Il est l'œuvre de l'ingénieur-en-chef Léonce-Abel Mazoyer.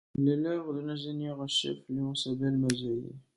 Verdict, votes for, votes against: rejected, 0, 2